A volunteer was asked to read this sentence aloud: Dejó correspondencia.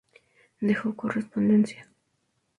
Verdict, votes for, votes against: accepted, 2, 0